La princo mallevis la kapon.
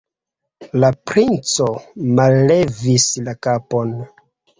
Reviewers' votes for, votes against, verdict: 1, 2, rejected